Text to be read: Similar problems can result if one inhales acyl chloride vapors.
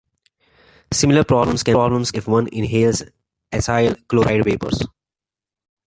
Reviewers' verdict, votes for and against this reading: rejected, 1, 2